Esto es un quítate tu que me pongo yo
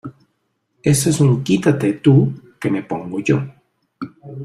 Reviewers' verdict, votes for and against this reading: rejected, 1, 2